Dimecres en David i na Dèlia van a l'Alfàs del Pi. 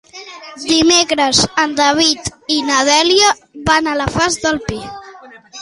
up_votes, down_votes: 0, 2